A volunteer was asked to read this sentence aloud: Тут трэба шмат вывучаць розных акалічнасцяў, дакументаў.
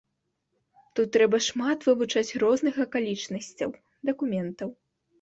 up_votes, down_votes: 2, 0